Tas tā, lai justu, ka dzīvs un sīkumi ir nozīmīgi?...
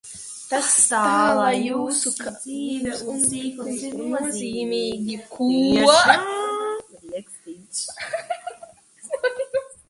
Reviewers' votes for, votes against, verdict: 0, 2, rejected